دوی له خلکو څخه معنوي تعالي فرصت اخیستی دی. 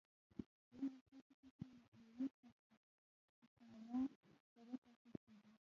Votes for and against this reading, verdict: 0, 2, rejected